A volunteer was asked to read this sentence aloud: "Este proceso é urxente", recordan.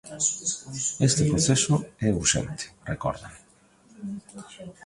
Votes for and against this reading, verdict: 1, 2, rejected